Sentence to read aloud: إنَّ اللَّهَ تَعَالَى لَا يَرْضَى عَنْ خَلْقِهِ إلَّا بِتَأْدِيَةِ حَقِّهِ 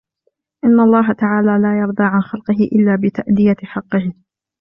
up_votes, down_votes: 2, 0